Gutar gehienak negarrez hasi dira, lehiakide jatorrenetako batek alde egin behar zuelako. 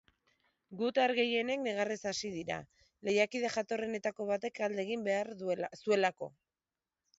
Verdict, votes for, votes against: rejected, 0, 2